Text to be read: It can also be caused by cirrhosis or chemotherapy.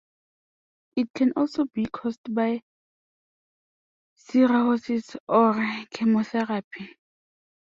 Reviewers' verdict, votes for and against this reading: rejected, 0, 2